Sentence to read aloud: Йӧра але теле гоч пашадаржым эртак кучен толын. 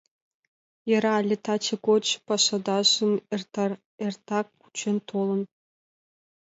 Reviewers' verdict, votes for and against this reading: rejected, 0, 2